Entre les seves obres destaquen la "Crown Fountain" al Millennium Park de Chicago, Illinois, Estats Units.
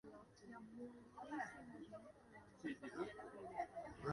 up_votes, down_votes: 1, 2